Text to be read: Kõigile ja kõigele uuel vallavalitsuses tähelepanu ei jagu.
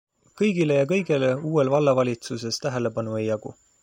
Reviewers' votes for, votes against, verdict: 2, 1, accepted